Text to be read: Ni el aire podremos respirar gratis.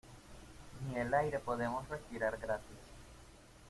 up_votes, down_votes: 2, 0